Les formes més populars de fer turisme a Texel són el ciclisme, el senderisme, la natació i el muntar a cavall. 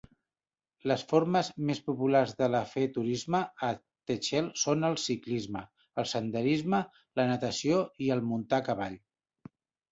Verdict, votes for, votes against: rejected, 0, 2